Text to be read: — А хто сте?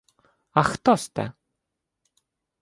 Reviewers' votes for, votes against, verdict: 2, 0, accepted